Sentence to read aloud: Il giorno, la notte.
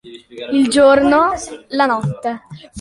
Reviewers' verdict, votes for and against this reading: accepted, 2, 0